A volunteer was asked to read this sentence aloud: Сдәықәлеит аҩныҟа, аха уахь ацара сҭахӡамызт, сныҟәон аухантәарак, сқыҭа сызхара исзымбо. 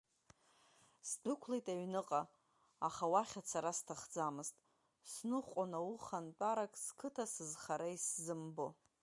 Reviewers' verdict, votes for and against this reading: accepted, 2, 0